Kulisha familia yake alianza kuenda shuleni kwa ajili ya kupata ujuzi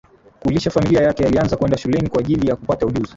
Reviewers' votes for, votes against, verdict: 0, 2, rejected